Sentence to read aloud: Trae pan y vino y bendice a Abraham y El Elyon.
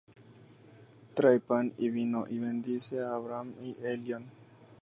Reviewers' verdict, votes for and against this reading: rejected, 2, 2